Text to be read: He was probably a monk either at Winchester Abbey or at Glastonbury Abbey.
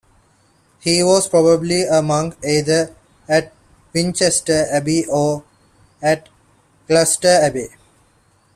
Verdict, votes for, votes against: rejected, 1, 2